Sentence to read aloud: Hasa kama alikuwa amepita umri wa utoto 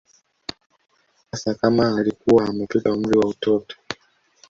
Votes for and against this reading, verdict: 0, 2, rejected